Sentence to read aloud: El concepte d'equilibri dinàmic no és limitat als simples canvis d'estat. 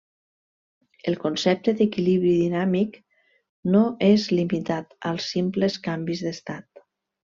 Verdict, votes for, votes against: accepted, 3, 0